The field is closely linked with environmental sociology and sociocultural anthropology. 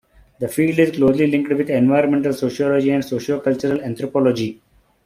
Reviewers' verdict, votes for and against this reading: rejected, 1, 2